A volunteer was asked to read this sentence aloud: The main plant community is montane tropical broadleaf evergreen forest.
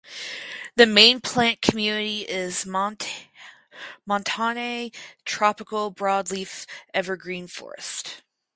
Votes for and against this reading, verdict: 2, 4, rejected